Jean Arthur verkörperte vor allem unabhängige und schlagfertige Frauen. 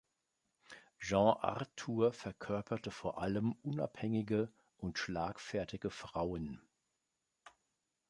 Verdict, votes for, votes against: accepted, 2, 0